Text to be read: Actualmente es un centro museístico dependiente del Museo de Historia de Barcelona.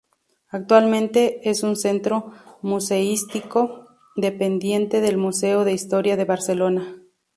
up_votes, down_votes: 2, 0